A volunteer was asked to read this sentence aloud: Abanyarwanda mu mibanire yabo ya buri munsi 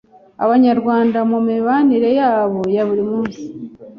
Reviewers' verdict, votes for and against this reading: accepted, 2, 0